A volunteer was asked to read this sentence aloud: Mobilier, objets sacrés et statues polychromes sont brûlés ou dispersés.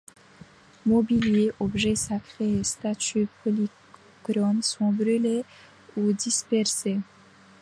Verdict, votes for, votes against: accepted, 2, 1